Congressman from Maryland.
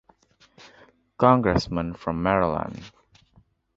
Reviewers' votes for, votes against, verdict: 2, 0, accepted